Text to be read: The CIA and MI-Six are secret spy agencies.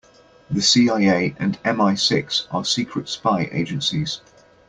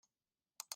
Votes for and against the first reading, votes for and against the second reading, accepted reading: 2, 0, 0, 2, first